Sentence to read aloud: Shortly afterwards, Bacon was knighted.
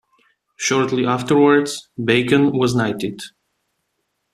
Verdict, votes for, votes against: accepted, 2, 1